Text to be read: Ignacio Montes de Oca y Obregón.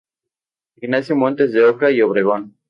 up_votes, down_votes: 2, 0